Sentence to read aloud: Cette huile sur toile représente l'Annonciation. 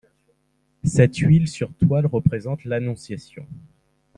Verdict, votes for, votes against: accepted, 2, 0